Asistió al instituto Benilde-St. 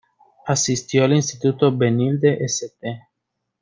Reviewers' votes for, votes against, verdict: 2, 0, accepted